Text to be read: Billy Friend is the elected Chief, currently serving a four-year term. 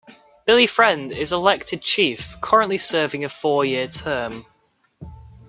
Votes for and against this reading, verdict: 2, 1, accepted